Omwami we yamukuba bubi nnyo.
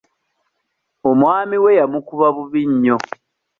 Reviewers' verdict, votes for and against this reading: accepted, 2, 0